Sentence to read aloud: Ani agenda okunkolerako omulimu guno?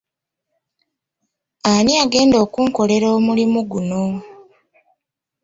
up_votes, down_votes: 2, 0